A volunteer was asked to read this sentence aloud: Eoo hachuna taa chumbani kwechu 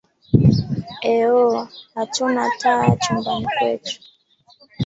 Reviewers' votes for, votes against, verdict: 0, 2, rejected